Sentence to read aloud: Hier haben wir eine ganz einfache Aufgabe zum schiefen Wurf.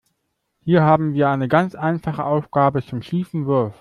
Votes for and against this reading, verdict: 2, 0, accepted